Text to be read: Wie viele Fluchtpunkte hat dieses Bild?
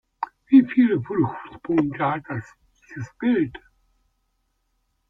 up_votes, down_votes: 0, 2